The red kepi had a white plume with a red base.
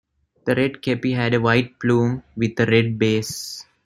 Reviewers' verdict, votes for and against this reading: accepted, 2, 1